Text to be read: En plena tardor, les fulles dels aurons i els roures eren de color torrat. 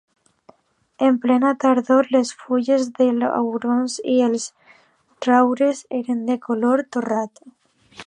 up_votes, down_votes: 1, 2